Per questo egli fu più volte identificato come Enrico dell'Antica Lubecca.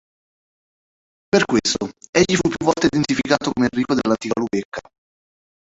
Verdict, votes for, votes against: rejected, 0, 3